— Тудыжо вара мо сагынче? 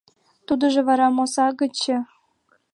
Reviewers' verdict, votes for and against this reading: rejected, 1, 2